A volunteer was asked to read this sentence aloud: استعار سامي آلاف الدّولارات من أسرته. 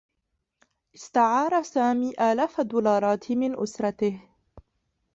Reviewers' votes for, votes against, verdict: 0, 2, rejected